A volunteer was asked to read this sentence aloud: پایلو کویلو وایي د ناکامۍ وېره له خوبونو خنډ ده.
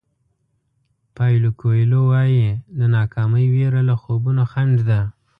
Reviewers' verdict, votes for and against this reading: accepted, 2, 0